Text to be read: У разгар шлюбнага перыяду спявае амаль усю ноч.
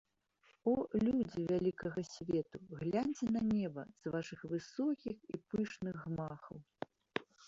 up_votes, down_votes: 0, 2